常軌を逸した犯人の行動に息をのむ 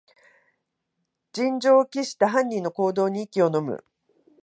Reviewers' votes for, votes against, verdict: 7, 19, rejected